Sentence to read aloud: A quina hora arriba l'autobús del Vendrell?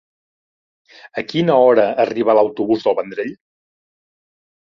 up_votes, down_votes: 3, 0